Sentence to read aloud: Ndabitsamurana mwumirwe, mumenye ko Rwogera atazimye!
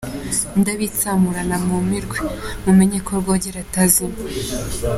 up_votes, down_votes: 2, 0